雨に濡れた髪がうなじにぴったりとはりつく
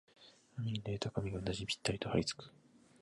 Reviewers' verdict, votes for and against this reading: accepted, 9, 7